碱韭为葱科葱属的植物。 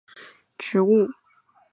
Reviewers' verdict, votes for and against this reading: rejected, 1, 3